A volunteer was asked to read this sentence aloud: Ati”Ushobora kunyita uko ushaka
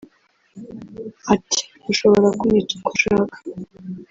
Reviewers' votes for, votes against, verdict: 0, 2, rejected